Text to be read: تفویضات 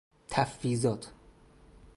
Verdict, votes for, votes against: accepted, 4, 0